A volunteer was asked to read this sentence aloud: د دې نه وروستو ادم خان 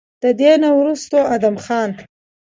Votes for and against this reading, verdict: 2, 0, accepted